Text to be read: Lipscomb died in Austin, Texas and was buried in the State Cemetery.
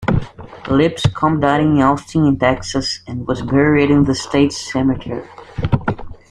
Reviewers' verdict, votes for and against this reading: accepted, 2, 0